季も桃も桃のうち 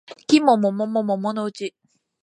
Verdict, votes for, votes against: rejected, 0, 2